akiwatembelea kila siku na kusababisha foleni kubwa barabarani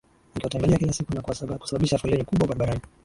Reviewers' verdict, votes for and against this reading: rejected, 1, 2